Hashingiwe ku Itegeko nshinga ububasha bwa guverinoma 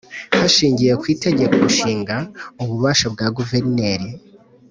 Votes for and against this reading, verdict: 1, 4, rejected